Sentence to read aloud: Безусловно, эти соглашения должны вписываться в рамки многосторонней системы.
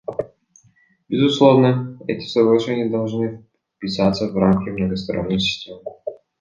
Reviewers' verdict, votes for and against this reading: rejected, 0, 2